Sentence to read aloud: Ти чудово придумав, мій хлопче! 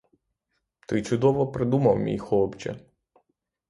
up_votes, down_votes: 0, 3